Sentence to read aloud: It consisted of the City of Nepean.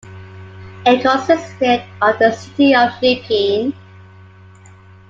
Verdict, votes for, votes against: accepted, 2, 0